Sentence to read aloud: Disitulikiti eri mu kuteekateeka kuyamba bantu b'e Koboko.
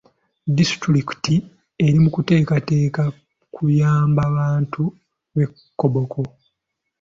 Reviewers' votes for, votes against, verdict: 2, 0, accepted